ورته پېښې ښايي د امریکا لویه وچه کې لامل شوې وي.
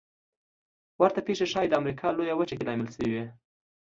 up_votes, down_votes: 2, 0